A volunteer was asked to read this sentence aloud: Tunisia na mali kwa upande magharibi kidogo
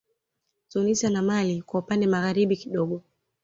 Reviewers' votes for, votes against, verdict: 2, 0, accepted